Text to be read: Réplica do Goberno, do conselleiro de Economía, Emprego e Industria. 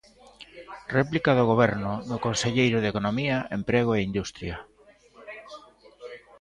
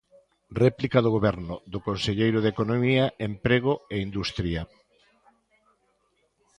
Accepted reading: second